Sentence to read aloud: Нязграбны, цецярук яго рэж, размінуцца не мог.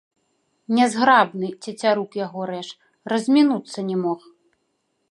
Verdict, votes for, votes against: rejected, 0, 2